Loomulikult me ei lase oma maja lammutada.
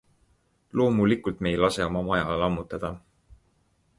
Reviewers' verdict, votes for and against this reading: accepted, 2, 0